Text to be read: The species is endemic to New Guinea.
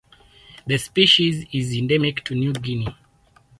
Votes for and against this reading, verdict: 2, 0, accepted